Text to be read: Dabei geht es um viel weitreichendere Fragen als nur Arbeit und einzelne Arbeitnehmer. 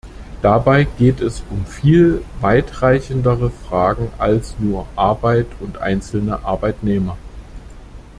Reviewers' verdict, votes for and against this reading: accepted, 2, 0